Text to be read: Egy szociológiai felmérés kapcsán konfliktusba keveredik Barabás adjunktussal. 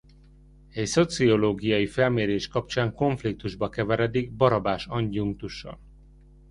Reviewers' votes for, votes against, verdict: 0, 2, rejected